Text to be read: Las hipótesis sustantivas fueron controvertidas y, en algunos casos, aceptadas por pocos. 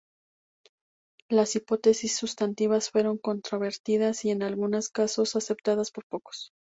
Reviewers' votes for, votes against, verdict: 2, 0, accepted